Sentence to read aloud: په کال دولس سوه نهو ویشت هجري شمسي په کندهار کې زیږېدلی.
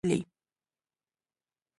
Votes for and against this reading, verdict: 0, 2, rejected